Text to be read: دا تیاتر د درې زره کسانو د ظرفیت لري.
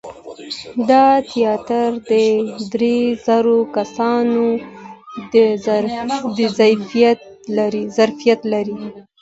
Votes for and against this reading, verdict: 1, 2, rejected